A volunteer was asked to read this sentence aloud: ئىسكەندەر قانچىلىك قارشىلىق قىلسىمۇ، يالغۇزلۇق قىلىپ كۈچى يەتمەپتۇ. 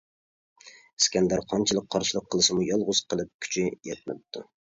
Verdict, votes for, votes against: rejected, 0, 2